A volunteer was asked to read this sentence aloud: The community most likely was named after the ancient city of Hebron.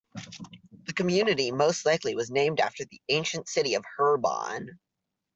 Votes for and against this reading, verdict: 0, 2, rejected